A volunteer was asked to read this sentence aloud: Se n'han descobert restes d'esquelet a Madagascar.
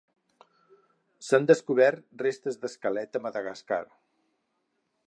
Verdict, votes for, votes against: rejected, 2, 4